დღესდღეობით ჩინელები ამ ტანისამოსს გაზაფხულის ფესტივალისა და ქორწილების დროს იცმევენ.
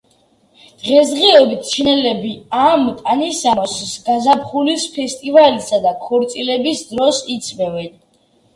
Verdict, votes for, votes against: rejected, 1, 2